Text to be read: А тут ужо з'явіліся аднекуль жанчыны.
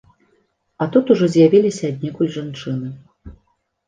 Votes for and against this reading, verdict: 2, 0, accepted